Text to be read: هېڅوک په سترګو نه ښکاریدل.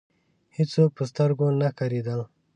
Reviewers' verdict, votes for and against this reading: rejected, 1, 2